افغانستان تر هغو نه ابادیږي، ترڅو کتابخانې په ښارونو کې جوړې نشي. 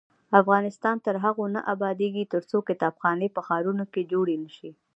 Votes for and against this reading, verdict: 1, 2, rejected